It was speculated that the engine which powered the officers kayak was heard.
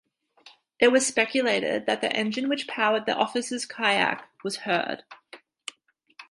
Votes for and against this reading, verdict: 4, 0, accepted